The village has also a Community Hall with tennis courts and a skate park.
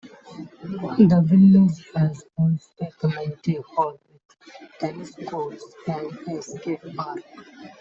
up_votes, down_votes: 0, 2